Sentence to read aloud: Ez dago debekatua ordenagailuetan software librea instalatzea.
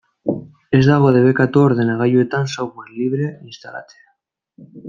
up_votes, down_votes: 1, 2